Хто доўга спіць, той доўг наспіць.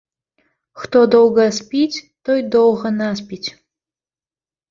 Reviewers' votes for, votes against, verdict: 0, 2, rejected